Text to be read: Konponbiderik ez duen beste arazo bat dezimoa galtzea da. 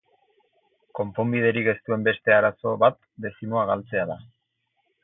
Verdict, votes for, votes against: accepted, 4, 0